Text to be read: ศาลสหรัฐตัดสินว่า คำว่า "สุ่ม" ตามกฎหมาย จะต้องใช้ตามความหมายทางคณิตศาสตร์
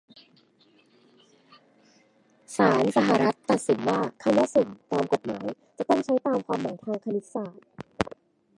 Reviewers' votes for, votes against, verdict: 0, 2, rejected